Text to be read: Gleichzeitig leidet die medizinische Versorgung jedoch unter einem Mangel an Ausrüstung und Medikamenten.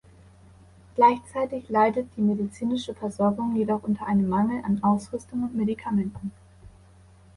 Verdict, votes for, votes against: accepted, 2, 0